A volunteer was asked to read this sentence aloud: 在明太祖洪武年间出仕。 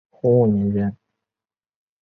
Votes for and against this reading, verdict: 0, 2, rejected